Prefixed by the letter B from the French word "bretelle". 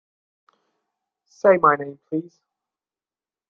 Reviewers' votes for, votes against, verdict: 0, 2, rejected